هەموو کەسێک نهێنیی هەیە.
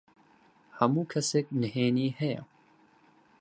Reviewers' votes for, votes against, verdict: 4, 0, accepted